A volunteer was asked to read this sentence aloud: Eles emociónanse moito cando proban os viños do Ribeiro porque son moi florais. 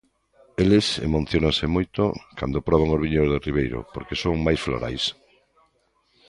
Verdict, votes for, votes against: rejected, 0, 2